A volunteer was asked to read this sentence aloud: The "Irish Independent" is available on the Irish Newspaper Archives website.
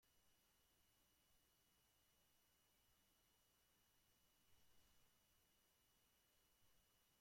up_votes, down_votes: 0, 2